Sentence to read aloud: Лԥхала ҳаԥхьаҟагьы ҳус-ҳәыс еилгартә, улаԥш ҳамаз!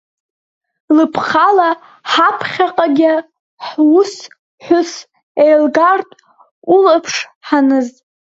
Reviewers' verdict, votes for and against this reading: rejected, 0, 2